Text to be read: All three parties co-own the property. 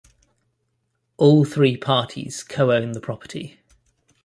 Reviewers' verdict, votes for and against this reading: accepted, 2, 0